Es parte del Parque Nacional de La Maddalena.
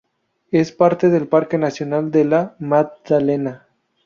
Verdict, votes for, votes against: rejected, 0, 2